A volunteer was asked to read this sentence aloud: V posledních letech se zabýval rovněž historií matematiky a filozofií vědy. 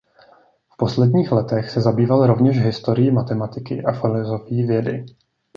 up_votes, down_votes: 1, 2